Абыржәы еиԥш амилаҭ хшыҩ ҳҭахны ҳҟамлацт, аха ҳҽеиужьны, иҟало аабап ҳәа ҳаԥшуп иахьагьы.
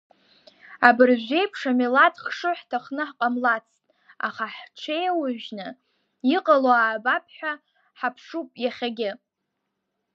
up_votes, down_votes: 2, 0